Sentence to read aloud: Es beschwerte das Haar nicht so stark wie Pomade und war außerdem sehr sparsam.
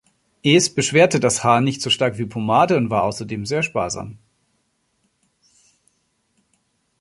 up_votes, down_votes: 2, 0